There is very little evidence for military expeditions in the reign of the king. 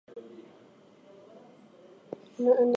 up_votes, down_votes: 0, 4